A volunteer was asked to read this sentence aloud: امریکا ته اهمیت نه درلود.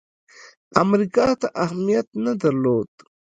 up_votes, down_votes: 0, 2